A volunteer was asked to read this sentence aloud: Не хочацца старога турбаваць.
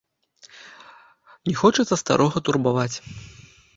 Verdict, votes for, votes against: accepted, 2, 0